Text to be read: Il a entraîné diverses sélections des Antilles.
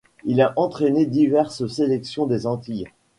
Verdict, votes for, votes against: rejected, 0, 2